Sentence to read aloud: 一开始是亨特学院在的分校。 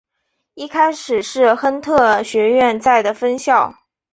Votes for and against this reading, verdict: 2, 0, accepted